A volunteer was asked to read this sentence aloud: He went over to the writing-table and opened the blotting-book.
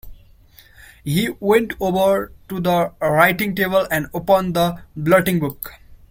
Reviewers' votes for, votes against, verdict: 0, 2, rejected